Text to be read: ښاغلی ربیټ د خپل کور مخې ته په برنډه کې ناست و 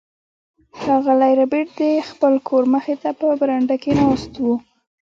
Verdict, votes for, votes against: rejected, 1, 2